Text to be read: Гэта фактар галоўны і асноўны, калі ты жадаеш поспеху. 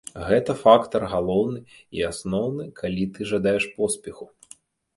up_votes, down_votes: 1, 2